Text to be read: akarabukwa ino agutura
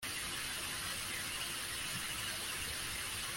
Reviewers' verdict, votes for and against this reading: rejected, 0, 2